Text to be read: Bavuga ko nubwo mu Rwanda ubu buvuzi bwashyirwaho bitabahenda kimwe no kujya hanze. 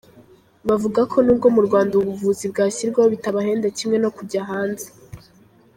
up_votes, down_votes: 1, 2